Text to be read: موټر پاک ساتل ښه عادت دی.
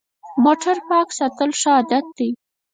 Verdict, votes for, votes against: rejected, 0, 4